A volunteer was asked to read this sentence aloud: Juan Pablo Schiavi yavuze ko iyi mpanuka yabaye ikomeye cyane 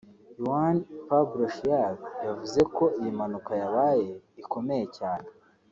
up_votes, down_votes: 2, 0